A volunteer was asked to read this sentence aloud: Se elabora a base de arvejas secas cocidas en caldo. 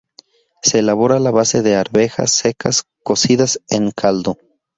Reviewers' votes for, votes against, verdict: 0, 2, rejected